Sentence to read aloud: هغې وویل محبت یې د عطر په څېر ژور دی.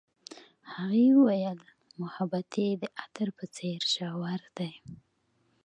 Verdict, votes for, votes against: accepted, 2, 0